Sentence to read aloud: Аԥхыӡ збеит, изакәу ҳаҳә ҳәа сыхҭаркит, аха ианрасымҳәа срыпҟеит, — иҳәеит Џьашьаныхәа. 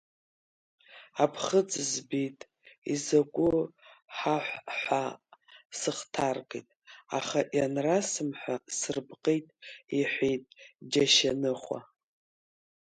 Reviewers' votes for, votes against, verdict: 0, 2, rejected